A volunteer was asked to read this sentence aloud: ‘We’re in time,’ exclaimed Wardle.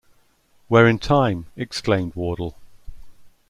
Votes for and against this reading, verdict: 2, 0, accepted